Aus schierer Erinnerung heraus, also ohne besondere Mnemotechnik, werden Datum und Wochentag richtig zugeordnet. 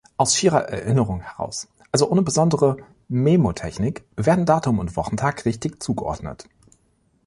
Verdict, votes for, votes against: rejected, 0, 2